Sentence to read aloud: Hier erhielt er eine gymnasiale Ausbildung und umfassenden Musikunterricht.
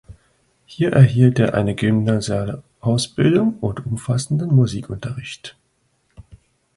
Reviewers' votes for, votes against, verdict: 2, 1, accepted